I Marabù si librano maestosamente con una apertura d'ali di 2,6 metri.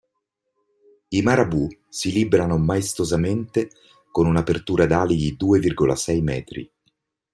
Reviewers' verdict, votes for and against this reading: rejected, 0, 2